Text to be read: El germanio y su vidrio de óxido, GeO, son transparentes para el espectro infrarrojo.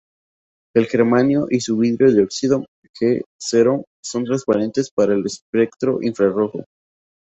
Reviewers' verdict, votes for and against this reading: rejected, 0, 2